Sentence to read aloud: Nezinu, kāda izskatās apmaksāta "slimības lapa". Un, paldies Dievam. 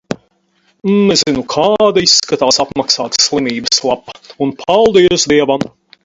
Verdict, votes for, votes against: accepted, 4, 0